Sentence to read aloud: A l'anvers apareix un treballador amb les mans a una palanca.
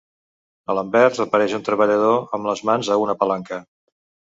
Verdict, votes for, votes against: accepted, 2, 0